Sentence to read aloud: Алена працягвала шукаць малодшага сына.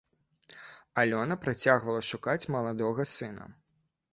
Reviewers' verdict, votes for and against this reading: rejected, 0, 2